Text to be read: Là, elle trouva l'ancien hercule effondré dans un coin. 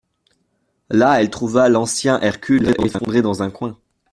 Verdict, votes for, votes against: rejected, 1, 2